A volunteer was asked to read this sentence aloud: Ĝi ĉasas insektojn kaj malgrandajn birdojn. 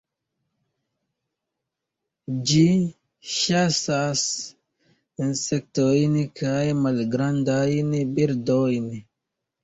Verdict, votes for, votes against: rejected, 0, 2